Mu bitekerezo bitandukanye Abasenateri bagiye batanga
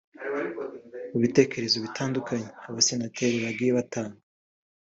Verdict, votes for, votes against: accepted, 2, 0